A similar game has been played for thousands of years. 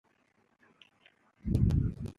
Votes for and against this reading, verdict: 0, 2, rejected